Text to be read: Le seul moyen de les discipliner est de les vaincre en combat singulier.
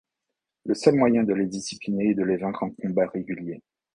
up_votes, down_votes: 2, 0